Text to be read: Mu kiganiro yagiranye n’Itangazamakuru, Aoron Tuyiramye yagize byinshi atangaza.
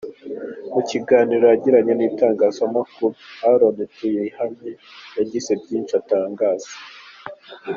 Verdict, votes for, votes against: rejected, 1, 2